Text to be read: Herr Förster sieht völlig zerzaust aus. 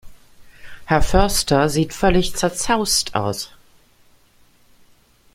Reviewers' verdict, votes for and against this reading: accepted, 2, 0